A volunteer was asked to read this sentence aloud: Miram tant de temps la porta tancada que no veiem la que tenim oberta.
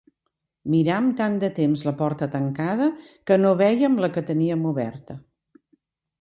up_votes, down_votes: 1, 2